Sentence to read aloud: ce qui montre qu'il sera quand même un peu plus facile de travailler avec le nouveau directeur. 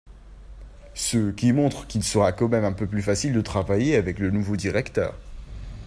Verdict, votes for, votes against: accepted, 2, 0